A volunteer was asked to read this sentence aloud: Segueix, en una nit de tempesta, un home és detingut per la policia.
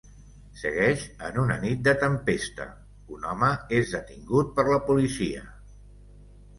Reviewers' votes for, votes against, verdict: 2, 0, accepted